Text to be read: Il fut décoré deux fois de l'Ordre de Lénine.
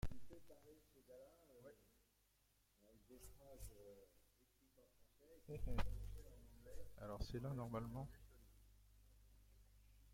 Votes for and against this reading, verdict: 0, 2, rejected